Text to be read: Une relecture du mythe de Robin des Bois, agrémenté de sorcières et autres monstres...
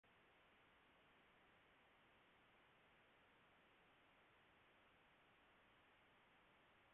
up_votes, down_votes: 0, 2